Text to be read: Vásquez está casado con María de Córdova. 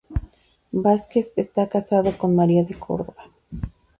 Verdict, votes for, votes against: accepted, 2, 0